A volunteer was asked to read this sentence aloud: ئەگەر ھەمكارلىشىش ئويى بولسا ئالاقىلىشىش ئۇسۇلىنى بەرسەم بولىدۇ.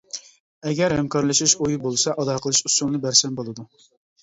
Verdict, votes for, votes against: accepted, 2, 0